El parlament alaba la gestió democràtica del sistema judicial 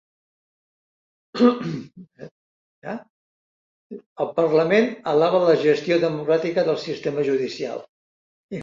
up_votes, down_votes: 0, 2